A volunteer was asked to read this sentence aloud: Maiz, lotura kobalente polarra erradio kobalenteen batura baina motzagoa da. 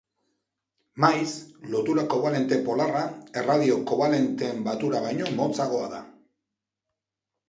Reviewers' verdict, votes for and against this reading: rejected, 0, 2